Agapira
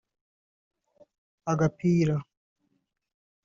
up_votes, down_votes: 1, 2